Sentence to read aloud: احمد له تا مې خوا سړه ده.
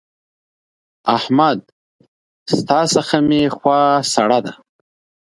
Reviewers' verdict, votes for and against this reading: rejected, 0, 2